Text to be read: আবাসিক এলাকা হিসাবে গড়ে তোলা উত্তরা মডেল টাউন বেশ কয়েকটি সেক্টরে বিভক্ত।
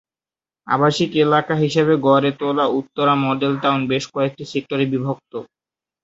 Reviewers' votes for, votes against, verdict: 2, 0, accepted